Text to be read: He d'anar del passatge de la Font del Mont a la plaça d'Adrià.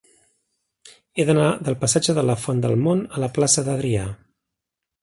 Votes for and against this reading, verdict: 2, 0, accepted